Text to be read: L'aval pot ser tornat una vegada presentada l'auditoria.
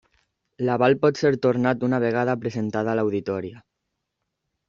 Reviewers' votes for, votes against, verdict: 0, 2, rejected